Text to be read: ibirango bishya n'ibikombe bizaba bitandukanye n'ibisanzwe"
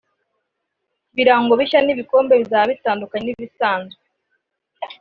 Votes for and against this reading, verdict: 2, 0, accepted